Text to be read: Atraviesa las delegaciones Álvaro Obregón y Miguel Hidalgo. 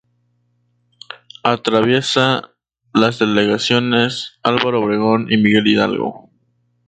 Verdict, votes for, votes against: accepted, 2, 0